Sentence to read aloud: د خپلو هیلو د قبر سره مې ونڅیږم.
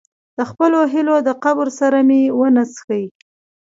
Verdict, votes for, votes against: rejected, 0, 2